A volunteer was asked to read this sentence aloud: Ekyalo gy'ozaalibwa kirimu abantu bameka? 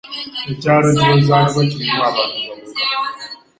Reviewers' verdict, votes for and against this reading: rejected, 0, 2